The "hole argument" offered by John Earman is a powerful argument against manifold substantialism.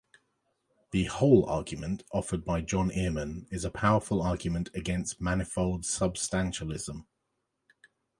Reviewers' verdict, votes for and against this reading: accepted, 2, 0